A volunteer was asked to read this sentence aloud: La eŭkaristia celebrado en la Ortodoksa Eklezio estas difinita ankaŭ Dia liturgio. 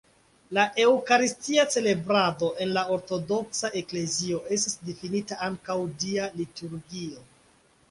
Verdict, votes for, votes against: accepted, 2, 0